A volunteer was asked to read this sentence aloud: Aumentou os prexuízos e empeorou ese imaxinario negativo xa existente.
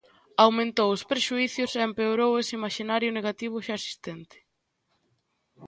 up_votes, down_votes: 0, 2